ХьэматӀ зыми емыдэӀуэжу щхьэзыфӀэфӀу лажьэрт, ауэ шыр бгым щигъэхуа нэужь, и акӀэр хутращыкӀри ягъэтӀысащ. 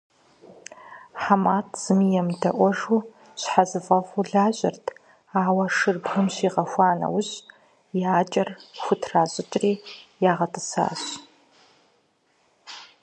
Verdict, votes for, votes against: accepted, 4, 0